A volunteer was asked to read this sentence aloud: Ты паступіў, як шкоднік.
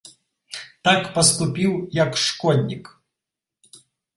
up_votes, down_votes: 0, 2